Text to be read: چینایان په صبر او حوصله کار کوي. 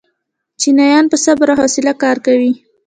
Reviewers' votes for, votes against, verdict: 2, 0, accepted